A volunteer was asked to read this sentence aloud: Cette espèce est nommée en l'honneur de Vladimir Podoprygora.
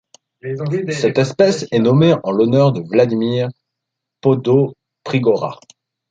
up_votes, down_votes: 0, 2